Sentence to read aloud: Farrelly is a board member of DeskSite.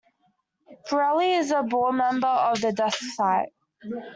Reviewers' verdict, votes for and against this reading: rejected, 0, 2